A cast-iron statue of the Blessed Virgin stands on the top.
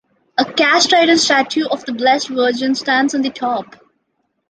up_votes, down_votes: 3, 0